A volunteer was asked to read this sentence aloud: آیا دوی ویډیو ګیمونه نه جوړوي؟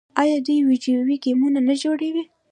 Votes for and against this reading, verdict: 1, 2, rejected